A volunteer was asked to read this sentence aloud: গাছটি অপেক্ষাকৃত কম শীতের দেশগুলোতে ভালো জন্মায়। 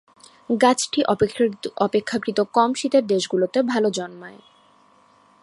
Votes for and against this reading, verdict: 0, 2, rejected